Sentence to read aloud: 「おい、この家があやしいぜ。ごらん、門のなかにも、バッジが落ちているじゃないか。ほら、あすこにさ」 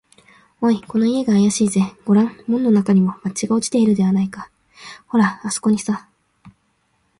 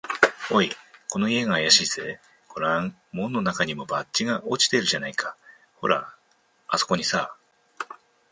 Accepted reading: second